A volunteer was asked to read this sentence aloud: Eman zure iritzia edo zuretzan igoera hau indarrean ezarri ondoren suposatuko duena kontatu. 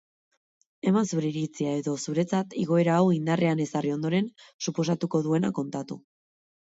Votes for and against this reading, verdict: 4, 0, accepted